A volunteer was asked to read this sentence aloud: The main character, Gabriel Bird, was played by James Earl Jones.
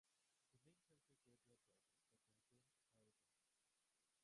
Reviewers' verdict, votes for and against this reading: rejected, 0, 2